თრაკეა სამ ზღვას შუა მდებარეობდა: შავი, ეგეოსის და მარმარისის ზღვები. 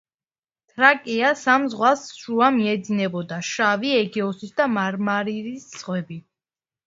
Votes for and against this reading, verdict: 2, 0, accepted